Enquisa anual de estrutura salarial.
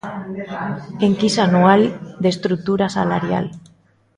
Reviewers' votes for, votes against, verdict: 2, 0, accepted